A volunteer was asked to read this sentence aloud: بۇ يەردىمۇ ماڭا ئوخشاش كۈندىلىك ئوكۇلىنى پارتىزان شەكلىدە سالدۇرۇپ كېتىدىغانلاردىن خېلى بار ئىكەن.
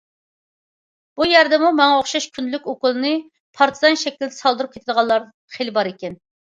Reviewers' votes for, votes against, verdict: 0, 2, rejected